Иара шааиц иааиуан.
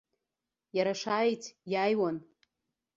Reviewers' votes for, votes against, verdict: 2, 0, accepted